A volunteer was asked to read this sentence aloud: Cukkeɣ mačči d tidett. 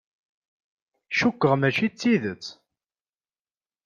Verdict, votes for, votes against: accepted, 2, 0